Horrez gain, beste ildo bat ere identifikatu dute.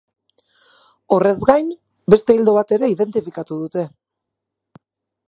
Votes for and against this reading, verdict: 4, 0, accepted